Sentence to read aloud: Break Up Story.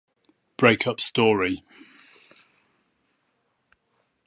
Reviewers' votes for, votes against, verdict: 2, 2, rejected